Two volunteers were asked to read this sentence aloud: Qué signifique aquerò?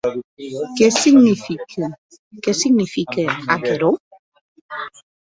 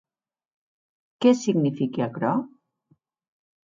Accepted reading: second